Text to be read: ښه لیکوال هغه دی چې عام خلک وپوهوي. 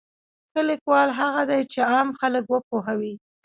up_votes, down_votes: 2, 0